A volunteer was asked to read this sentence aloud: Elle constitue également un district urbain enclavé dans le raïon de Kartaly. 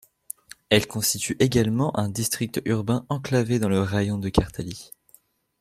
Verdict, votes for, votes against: accepted, 2, 0